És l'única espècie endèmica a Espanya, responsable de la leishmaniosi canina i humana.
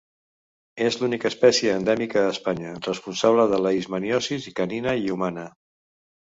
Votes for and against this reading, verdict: 0, 2, rejected